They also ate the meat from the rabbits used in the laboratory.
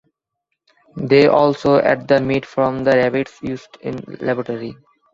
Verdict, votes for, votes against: rejected, 0, 2